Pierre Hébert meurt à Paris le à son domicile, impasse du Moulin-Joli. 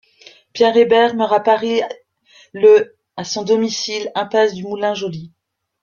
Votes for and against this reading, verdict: 0, 2, rejected